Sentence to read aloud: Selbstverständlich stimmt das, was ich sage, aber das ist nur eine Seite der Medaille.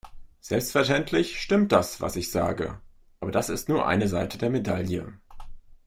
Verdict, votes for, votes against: accepted, 2, 0